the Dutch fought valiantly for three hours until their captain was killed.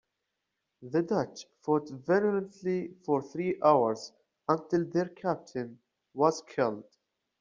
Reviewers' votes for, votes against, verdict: 0, 2, rejected